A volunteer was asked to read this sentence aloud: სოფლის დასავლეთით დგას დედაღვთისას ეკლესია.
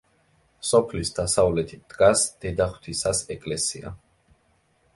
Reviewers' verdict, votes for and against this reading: accepted, 2, 0